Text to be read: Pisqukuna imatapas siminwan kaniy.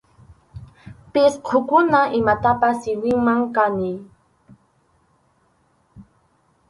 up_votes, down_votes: 0, 2